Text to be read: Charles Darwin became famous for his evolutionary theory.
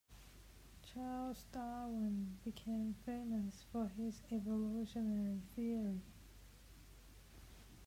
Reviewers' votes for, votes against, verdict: 2, 0, accepted